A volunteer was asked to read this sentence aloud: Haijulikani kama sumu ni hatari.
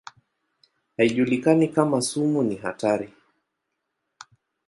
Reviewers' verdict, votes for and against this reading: accepted, 2, 0